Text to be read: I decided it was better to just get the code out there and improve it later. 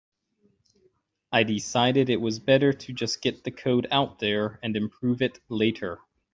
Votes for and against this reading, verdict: 3, 0, accepted